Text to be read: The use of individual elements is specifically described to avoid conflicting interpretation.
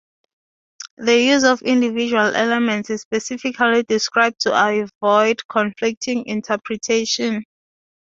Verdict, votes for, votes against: rejected, 2, 2